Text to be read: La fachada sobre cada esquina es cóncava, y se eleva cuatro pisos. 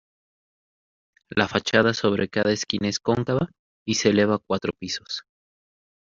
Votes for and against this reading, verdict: 2, 0, accepted